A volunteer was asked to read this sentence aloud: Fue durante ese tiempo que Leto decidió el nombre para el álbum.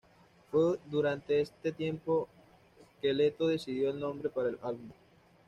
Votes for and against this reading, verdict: 1, 2, rejected